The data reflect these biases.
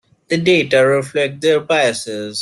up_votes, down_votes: 1, 2